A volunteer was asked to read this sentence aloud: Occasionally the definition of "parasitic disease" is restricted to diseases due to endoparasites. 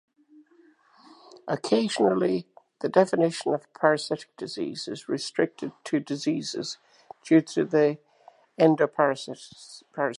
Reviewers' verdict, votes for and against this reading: accepted, 2, 0